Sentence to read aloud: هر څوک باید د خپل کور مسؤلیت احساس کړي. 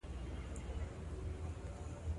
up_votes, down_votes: 1, 3